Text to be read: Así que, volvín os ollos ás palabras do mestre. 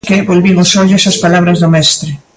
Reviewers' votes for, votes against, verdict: 0, 2, rejected